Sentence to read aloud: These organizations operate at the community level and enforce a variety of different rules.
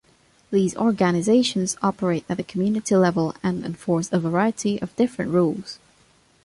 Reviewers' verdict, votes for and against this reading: accepted, 2, 1